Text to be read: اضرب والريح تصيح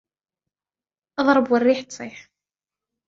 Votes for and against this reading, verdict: 2, 0, accepted